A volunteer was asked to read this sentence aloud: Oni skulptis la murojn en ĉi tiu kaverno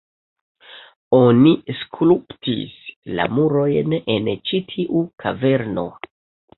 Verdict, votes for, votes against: rejected, 0, 2